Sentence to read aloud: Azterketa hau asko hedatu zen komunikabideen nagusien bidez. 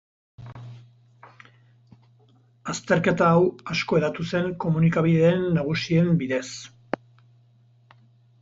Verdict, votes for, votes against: rejected, 0, 4